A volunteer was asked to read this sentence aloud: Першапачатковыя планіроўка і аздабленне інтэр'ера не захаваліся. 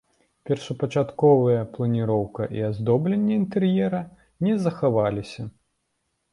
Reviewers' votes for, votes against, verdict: 0, 2, rejected